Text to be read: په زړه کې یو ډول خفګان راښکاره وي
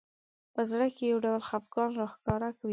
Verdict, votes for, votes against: accepted, 2, 0